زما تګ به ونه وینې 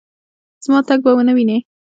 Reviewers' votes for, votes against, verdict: 1, 2, rejected